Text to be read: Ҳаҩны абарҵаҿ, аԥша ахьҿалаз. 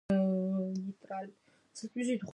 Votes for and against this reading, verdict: 0, 2, rejected